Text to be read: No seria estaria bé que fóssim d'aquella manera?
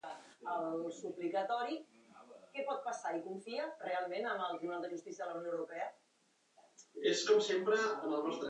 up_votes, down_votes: 0, 2